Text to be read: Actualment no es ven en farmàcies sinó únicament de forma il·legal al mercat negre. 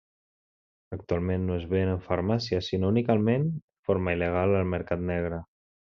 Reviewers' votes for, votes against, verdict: 1, 2, rejected